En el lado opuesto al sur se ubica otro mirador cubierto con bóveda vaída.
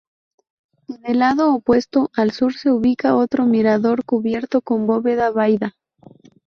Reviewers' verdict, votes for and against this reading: rejected, 0, 2